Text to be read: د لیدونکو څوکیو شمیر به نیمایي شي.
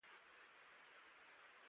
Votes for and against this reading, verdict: 1, 2, rejected